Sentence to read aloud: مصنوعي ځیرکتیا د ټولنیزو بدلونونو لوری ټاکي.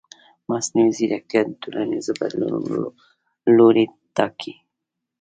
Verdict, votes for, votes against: rejected, 1, 2